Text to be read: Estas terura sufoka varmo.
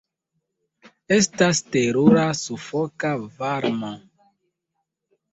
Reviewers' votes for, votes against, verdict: 2, 0, accepted